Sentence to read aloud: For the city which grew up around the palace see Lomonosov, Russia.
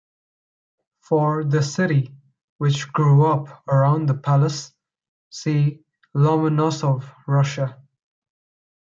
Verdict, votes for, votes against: accepted, 2, 0